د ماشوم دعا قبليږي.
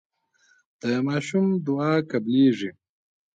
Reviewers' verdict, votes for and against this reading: accepted, 3, 0